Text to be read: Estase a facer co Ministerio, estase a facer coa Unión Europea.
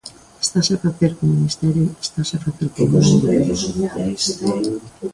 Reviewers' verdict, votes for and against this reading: rejected, 1, 2